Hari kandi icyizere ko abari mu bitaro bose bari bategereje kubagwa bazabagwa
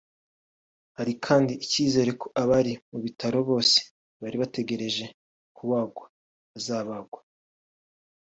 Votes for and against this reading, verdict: 2, 0, accepted